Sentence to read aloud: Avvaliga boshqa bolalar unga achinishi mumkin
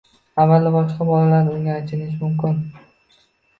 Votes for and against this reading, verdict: 0, 2, rejected